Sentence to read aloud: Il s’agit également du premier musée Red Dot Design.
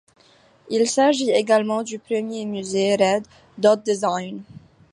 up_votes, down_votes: 2, 0